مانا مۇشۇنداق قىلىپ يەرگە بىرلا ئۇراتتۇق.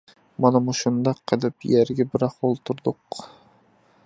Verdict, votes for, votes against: rejected, 0, 2